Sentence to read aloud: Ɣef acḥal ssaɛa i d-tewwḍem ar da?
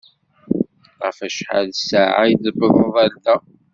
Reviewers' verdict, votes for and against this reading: rejected, 1, 2